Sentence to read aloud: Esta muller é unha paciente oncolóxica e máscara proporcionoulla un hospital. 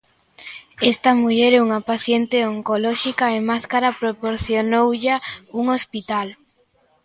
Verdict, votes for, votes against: accepted, 2, 0